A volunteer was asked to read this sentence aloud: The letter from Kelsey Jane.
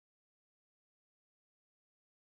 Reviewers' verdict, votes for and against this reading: rejected, 0, 3